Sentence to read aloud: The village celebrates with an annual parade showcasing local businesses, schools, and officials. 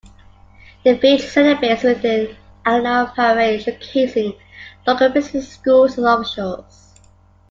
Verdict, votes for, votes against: accepted, 2, 1